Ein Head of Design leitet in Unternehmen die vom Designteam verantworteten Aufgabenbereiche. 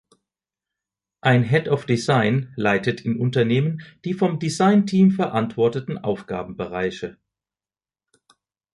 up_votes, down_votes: 1, 2